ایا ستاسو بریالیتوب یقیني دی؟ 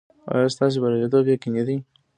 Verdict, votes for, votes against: accepted, 2, 0